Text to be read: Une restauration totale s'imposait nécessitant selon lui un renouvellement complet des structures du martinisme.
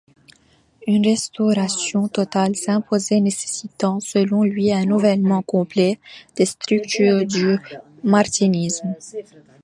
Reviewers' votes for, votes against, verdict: 2, 1, accepted